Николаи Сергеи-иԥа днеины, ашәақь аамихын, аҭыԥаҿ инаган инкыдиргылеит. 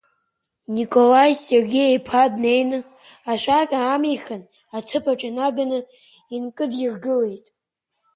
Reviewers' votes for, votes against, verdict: 5, 2, accepted